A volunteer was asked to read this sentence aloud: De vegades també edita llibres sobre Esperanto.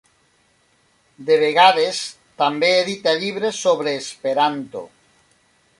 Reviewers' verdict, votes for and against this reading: accepted, 3, 1